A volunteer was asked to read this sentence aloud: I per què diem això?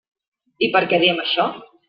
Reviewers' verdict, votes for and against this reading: accepted, 3, 0